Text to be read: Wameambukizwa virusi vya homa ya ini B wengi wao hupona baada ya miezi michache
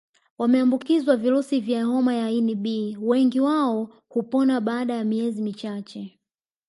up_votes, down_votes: 1, 2